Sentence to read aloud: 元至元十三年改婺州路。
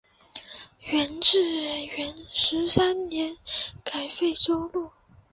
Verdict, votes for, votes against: rejected, 0, 2